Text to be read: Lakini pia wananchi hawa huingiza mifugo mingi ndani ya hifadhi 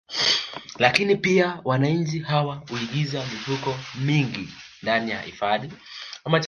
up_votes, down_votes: 0, 2